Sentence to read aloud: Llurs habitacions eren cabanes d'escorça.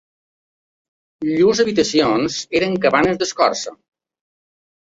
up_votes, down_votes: 2, 0